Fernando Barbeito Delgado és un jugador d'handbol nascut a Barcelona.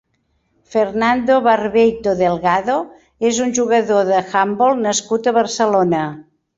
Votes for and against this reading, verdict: 0, 2, rejected